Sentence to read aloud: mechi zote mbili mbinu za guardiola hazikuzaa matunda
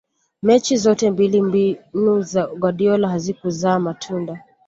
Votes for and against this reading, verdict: 2, 0, accepted